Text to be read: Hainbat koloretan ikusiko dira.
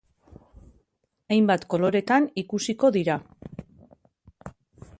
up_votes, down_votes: 3, 0